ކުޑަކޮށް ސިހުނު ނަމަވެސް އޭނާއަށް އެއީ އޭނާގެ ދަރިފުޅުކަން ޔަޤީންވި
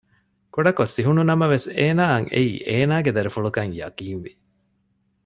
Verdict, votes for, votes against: accepted, 2, 0